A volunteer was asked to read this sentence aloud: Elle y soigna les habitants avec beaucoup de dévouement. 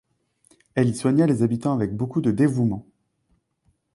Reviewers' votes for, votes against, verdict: 2, 0, accepted